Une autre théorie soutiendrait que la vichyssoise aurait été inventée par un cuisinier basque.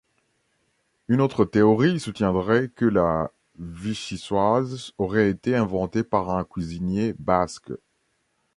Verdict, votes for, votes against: accepted, 2, 0